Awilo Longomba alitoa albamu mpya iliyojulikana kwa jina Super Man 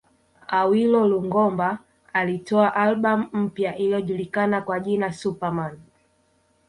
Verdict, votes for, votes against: rejected, 1, 2